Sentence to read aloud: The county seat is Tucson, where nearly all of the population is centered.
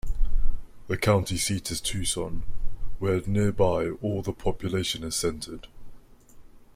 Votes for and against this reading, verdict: 0, 2, rejected